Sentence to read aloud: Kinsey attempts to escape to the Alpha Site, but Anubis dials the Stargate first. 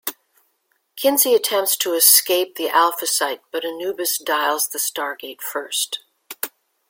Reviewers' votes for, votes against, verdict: 2, 1, accepted